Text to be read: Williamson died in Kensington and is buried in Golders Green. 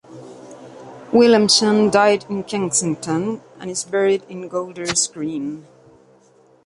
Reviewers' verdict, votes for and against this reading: accepted, 2, 0